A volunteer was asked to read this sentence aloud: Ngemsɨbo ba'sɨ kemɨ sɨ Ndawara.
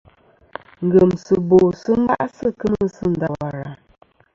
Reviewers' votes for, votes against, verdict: 2, 1, accepted